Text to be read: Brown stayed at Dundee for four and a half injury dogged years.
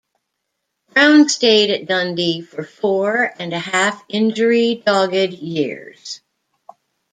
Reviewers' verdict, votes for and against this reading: rejected, 1, 2